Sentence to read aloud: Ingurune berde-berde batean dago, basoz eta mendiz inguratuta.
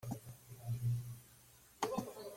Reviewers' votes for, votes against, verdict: 0, 2, rejected